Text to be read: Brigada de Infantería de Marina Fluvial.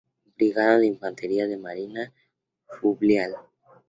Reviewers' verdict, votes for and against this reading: rejected, 2, 4